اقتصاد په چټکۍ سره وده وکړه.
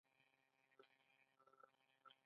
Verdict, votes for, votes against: accepted, 2, 1